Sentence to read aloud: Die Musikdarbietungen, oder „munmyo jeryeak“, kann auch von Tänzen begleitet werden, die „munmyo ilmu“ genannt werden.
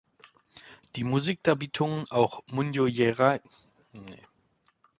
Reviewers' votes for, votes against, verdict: 0, 2, rejected